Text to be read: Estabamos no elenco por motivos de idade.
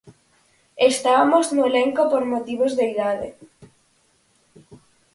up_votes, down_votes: 4, 0